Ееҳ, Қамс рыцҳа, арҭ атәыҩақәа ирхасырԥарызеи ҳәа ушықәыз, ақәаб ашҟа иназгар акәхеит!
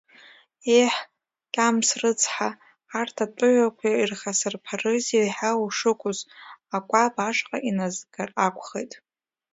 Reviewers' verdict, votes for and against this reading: rejected, 1, 2